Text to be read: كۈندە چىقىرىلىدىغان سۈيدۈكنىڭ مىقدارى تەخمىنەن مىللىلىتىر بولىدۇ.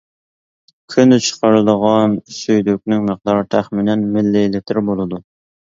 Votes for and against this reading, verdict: 1, 2, rejected